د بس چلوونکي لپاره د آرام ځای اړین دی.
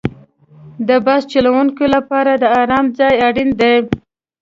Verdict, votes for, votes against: accepted, 2, 0